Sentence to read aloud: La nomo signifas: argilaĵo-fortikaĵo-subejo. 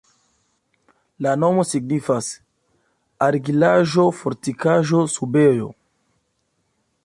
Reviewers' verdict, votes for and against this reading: accepted, 2, 0